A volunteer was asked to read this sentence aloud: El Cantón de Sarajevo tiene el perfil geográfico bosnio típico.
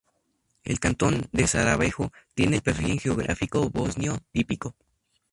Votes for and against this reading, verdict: 0, 2, rejected